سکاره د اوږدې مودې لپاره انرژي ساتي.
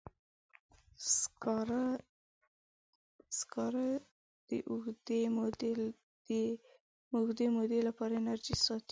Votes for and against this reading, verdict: 1, 2, rejected